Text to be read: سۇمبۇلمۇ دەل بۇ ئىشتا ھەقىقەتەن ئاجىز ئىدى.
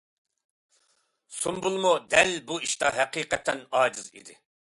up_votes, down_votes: 2, 0